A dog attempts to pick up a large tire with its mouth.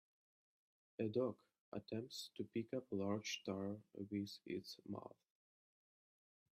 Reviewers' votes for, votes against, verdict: 1, 3, rejected